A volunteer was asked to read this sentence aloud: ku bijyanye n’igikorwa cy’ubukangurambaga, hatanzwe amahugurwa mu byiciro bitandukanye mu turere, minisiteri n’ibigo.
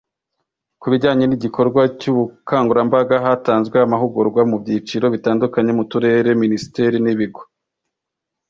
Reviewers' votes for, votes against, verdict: 2, 0, accepted